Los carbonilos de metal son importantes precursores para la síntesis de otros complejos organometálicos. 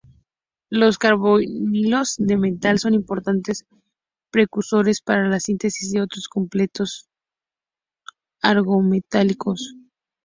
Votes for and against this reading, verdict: 0, 2, rejected